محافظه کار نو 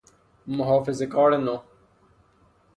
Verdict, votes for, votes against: accepted, 3, 0